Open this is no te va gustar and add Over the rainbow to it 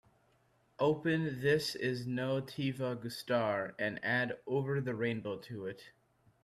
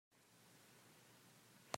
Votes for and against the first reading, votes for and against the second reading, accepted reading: 2, 1, 0, 2, first